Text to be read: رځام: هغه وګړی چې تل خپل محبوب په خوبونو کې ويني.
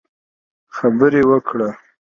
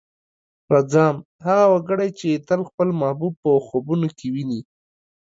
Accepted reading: second